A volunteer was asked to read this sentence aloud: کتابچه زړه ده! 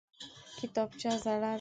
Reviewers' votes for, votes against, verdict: 2, 1, accepted